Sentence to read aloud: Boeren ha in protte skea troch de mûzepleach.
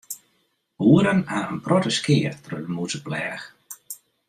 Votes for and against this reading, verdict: 2, 0, accepted